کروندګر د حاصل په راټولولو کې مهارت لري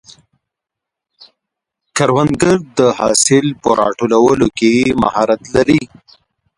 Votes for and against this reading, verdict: 1, 3, rejected